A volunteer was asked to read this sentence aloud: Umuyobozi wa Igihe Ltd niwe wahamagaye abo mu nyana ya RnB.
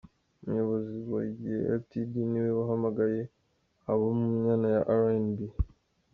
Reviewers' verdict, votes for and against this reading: rejected, 1, 2